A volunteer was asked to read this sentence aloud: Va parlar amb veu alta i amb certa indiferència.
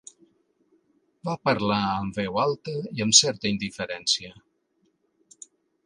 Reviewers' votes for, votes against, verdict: 2, 0, accepted